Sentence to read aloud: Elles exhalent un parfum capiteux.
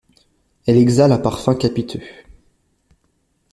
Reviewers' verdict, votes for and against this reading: rejected, 1, 2